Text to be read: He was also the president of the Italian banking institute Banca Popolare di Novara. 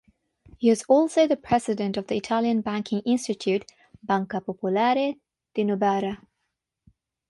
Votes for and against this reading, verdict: 6, 0, accepted